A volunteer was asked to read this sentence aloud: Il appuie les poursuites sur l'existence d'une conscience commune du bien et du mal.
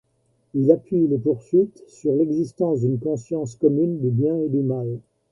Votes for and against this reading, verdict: 2, 0, accepted